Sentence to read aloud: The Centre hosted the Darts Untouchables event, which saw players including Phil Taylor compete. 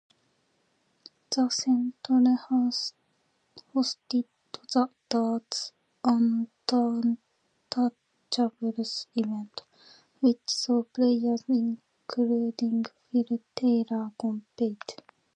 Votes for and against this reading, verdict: 1, 2, rejected